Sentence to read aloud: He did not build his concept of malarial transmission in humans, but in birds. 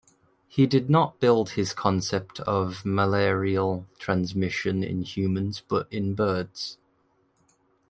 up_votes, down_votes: 2, 0